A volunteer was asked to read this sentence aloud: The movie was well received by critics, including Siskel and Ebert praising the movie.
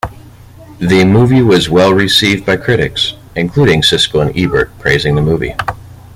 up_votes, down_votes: 2, 0